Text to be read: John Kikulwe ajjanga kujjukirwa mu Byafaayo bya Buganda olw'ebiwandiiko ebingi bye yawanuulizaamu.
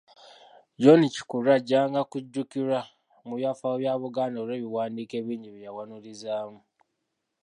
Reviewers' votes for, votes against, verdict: 1, 2, rejected